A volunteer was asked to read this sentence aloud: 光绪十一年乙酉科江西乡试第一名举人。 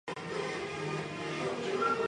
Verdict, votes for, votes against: rejected, 0, 3